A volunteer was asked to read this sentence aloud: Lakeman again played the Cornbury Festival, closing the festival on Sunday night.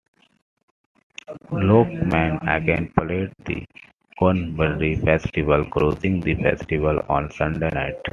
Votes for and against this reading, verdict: 2, 0, accepted